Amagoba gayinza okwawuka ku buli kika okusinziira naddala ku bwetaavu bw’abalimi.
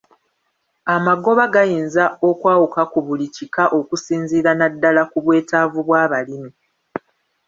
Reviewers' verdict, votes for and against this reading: rejected, 1, 2